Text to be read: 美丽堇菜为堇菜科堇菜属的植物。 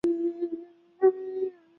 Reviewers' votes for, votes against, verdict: 0, 2, rejected